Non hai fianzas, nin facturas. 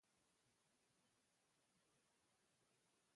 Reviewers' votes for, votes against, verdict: 0, 2, rejected